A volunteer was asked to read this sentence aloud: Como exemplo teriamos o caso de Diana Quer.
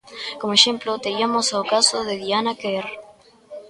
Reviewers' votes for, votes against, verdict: 0, 2, rejected